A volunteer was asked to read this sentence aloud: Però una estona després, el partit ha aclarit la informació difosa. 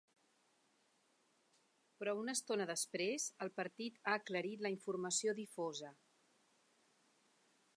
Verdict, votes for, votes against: accepted, 2, 0